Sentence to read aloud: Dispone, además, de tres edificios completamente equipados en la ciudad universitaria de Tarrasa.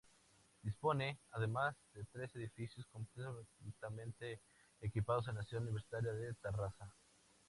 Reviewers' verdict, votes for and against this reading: accepted, 2, 0